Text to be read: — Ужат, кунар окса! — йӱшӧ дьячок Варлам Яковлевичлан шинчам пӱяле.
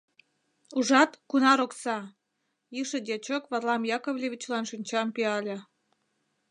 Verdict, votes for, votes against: accepted, 2, 0